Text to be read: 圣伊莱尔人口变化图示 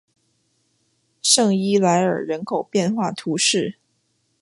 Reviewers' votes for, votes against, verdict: 2, 0, accepted